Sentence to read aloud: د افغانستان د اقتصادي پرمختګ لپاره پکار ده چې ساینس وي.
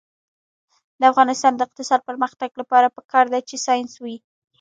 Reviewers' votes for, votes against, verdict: 1, 2, rejected